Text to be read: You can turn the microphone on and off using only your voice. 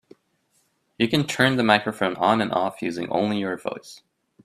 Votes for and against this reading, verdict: 2, 0, accepted